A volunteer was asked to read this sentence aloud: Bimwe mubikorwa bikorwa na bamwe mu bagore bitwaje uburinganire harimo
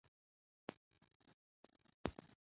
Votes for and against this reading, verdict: 0, 2, rejected